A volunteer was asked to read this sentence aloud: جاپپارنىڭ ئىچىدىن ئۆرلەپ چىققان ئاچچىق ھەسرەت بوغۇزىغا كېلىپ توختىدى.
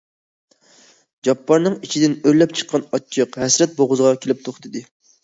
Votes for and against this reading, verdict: 2, 0, accepted